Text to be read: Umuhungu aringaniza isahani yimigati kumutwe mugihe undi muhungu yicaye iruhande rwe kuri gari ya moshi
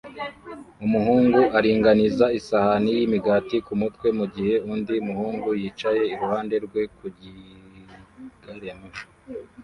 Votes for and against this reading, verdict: 0, 2, rejected